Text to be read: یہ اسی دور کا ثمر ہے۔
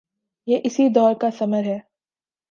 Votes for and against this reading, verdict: 3, 0, accepted